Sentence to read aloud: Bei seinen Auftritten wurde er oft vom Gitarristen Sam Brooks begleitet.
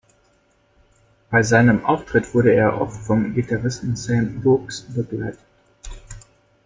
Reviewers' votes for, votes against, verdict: 0, 2, rejected